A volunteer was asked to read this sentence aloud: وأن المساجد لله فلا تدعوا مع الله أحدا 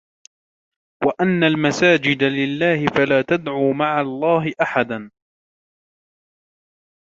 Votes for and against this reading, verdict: 2, 1, accepted